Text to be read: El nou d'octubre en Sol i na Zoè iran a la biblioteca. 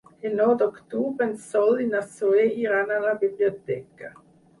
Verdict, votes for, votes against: accepted, 4, 0